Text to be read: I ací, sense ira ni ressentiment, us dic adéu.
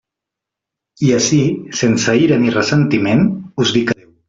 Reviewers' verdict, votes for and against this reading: rejected, 0, 3